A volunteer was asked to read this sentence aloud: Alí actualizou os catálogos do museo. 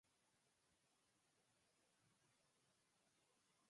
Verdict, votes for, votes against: rejected, 0, 4